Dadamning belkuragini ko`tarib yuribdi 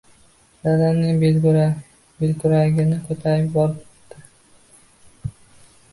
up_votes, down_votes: 0, 2